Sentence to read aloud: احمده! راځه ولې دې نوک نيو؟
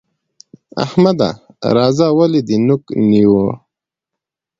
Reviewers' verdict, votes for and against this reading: accepted, 2, 0